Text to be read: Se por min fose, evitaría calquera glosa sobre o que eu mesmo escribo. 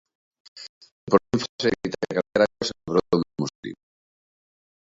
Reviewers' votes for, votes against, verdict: 0, 2, rejected